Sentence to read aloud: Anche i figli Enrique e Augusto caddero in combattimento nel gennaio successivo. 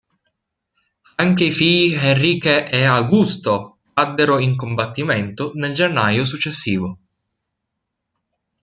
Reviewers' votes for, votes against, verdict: 1, 2, rejected